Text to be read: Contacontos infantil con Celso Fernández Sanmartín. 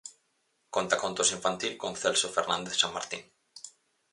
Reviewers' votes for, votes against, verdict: 4, 0, accepted